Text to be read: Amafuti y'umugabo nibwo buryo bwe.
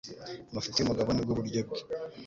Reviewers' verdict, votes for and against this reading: accepted, 2, 0